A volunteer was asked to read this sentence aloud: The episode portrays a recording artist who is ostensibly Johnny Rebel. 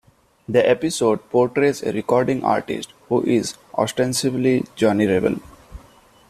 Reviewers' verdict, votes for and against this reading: accepted, 2, 0